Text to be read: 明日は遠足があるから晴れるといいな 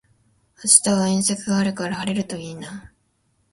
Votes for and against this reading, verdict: 2, 0, accepted